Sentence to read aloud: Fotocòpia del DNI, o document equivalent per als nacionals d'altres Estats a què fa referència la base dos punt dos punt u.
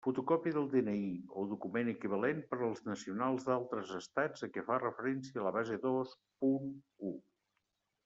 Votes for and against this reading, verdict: 0, 2, rejected